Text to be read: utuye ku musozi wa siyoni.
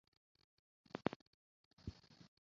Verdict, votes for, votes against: rejected, 0, 2